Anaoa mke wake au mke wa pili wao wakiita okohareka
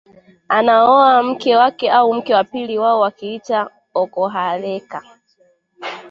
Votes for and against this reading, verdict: 2, 0, accepted